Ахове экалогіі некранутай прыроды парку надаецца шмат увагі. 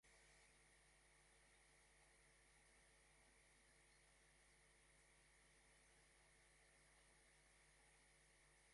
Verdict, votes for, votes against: rejected, 0, 2